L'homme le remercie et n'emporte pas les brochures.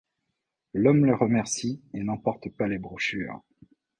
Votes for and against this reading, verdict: 2, 0, accepted